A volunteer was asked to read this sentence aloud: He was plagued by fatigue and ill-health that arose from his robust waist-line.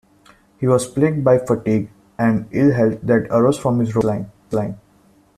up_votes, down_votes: 0, 2